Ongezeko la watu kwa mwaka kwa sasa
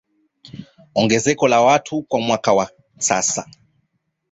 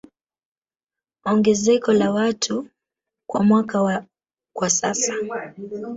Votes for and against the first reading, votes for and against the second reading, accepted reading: 2, 0, 1, 3, first